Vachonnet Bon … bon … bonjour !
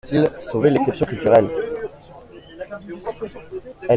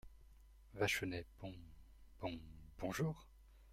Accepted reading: second